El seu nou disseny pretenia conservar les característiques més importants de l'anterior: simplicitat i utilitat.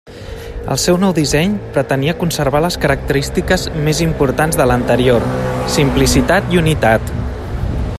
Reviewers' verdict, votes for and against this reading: rejected, 1, 2